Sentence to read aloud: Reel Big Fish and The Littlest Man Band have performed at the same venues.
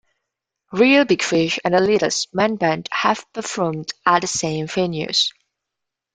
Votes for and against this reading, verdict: 1, 2, rejected